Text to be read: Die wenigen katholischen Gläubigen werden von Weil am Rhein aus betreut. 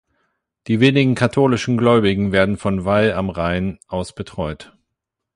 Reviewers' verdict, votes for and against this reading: accepted, 8, 0